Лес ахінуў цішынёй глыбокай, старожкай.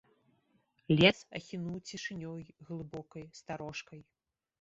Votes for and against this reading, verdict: 2, 3, rejected